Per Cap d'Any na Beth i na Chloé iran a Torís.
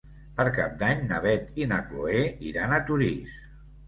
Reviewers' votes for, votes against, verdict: 3, 0, accepted